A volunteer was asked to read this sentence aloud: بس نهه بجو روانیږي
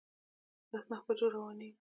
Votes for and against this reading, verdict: 2, 0, accepted